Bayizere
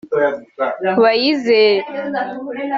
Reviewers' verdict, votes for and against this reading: accepted, 2, 0